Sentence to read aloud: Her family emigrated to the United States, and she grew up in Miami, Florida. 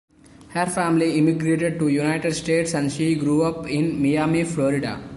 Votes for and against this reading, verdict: 0, 2, rejected